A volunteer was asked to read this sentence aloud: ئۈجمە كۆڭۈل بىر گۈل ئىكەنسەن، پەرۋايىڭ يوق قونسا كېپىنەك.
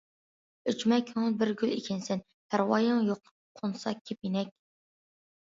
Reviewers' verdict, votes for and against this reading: accepted, 2, 0